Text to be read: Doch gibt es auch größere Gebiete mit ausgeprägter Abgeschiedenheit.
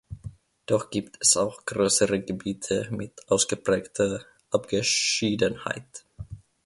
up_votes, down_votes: 2, 0